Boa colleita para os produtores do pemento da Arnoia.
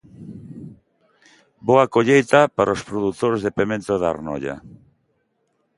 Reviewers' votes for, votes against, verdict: 0, 3, rejected